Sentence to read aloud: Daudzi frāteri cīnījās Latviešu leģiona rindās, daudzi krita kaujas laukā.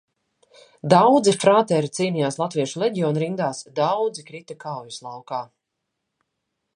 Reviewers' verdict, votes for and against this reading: accepted, 2, 0